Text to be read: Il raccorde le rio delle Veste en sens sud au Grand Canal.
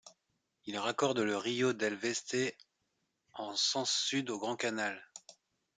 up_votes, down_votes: 2, 0